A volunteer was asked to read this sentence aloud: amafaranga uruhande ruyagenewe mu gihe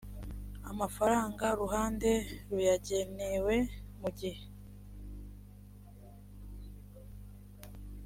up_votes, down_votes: 2, 0